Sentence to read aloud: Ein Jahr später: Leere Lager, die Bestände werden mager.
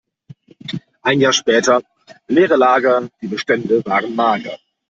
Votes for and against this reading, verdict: 1, 2, rejected